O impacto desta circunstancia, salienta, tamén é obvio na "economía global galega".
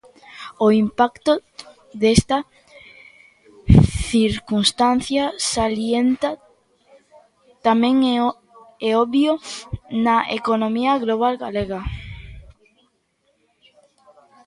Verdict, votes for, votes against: rejected, 1, 2